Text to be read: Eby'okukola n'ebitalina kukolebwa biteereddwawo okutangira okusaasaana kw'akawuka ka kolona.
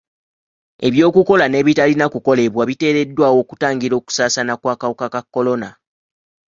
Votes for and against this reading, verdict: 2, 0, accepted